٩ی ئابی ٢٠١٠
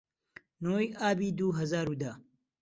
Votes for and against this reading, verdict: 0, 2, rejected